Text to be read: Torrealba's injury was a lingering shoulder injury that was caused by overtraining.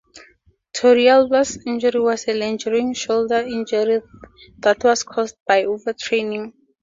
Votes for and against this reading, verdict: 4, 0, accepted